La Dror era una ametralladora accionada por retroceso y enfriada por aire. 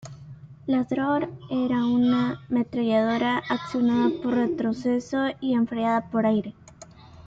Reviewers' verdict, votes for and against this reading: accepted, 2, 0